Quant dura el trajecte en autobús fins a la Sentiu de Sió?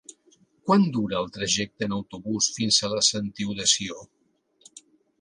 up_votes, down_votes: 2, 0